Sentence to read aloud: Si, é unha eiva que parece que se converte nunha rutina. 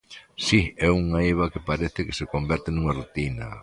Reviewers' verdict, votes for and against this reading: accepted, 3, 0